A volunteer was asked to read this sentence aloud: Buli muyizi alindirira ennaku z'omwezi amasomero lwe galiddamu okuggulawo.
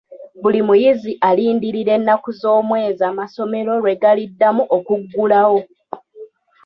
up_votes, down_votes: 2, 0